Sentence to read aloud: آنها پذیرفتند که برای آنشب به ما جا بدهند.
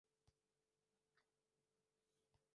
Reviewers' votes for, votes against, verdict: 0, 2, rejected